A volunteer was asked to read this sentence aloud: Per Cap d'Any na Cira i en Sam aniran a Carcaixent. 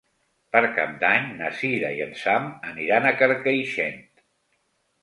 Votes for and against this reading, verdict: 3, 0, accepted